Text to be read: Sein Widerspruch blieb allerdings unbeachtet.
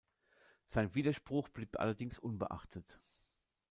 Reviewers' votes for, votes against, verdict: 1, 2, rejected